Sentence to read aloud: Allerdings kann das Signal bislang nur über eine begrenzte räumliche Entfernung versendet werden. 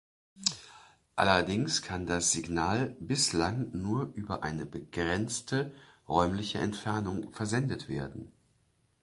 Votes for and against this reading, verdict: 2, 0, accepted